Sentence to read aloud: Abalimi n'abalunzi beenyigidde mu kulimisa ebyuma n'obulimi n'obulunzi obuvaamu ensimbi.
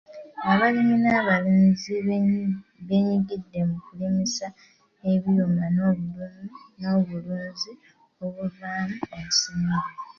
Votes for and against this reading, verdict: 0, 2, rejected